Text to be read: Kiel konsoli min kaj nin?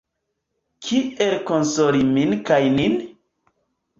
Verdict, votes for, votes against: accepted, 3, 0